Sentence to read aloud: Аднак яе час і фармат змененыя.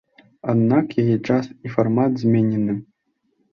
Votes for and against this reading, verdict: 0, 2, rejected